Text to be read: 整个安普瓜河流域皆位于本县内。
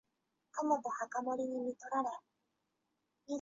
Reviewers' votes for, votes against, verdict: 1, 2, rejected